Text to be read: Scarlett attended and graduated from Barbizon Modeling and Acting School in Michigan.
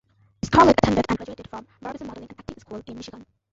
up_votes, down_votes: 0, 2